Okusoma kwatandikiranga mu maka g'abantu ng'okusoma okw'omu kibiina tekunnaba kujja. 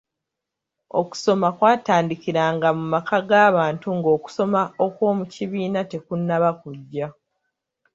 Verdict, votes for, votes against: accepted, 2, 0